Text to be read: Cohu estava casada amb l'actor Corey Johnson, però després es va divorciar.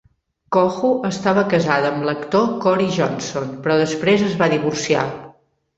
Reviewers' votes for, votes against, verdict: 2, 0, accepted